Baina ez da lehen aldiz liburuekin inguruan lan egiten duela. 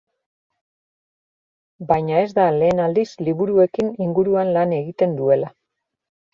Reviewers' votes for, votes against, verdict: 2, 0, accepted